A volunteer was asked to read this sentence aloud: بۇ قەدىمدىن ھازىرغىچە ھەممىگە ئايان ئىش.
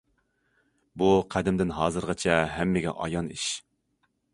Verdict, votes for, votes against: accepted, 2, 0